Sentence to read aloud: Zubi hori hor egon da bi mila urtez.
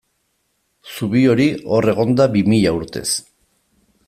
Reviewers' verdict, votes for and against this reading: accepted, 2, 0